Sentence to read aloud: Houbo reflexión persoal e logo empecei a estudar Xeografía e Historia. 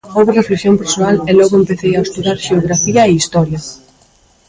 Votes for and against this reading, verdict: 2, 3, rejected